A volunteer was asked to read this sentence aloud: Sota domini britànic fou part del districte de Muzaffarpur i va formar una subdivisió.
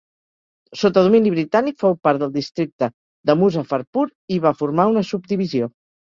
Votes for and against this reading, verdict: 2, 0, accepted